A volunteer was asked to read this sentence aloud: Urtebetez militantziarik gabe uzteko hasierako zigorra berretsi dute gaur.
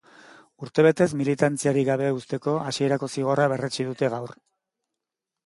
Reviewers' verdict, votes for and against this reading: accepted, 2, 0